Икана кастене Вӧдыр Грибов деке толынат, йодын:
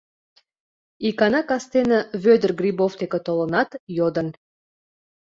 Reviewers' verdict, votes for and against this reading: accepted, 2, 1